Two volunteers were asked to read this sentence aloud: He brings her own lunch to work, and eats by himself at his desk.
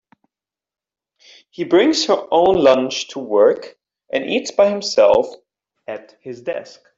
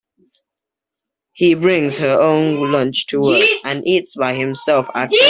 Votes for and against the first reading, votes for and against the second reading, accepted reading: 2, 0, 0, 2, first